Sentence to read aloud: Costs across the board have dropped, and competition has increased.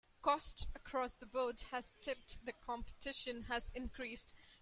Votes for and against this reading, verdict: 1, 2, rejected